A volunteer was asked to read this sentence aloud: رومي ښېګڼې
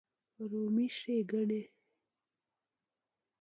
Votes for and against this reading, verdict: 1, 3, rejected